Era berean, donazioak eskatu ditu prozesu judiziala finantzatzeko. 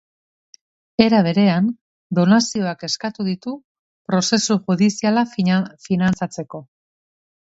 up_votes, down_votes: 1, 3